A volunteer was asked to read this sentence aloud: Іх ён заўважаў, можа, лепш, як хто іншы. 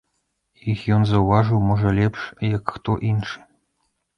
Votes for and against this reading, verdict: 0, 2, rejected